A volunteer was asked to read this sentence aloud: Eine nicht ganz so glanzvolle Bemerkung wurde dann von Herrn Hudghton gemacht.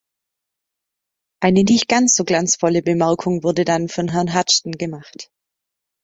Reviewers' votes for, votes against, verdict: 2, 0, accepted